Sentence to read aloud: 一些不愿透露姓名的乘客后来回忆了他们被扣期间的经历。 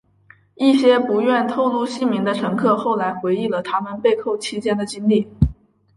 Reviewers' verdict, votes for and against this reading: accepted, 2, 0